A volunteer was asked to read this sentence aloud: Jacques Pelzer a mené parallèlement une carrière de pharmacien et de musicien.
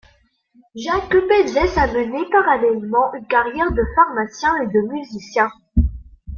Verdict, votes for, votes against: rejected, 1, 2